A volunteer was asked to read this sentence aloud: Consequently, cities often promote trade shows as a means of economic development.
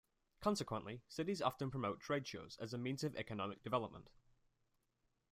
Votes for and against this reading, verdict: 2, 1, accepted